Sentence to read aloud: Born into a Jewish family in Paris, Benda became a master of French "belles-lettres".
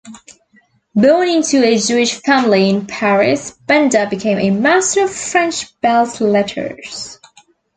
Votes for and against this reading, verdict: 1, 2, rejected